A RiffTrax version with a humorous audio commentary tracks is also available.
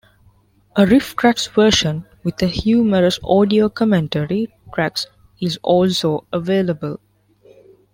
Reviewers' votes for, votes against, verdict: 0, 2, rejected